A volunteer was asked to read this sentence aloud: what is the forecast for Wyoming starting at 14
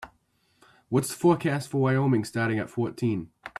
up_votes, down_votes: 0, 2